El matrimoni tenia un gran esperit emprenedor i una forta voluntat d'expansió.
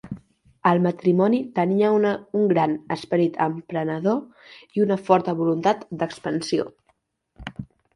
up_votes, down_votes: 1, 2